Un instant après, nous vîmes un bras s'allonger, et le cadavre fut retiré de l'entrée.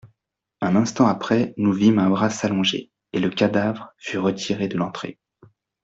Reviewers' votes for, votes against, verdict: 2, 0, accepted